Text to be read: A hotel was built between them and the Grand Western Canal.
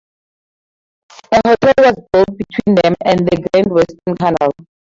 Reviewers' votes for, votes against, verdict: 0, 2, rejected